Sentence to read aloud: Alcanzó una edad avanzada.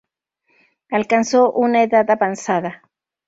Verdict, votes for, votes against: accepted, 2, 0